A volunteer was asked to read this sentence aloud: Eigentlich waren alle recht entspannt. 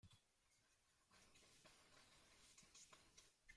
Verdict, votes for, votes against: rejected, 0, 2